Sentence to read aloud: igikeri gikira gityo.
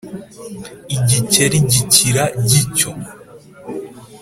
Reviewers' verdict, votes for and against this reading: accepted, 2, 0